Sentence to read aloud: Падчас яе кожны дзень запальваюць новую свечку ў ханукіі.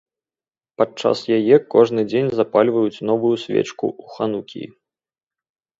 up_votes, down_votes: 0, 2